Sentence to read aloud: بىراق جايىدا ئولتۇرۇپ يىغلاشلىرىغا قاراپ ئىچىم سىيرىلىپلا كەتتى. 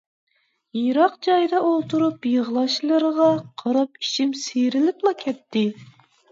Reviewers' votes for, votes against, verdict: 0, 2, rejected